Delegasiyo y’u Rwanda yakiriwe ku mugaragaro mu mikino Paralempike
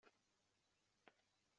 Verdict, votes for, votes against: rejected, 0, 2